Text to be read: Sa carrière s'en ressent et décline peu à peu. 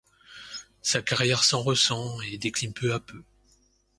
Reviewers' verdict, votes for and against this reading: accepted, 2, 0